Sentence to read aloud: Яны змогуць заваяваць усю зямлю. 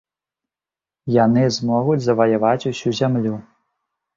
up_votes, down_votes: 2, 0